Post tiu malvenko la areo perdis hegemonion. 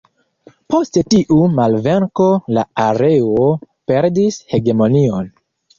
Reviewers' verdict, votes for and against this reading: rejected, 1, 2